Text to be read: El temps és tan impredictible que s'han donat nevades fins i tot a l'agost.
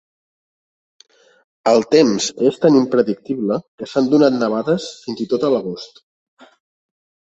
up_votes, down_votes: 3, 0